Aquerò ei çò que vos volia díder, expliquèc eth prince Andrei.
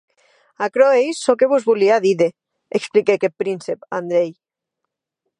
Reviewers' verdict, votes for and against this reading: rejected, 0, 2